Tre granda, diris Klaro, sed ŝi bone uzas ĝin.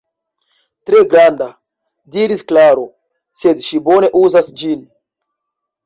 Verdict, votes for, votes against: accepted, 4, 2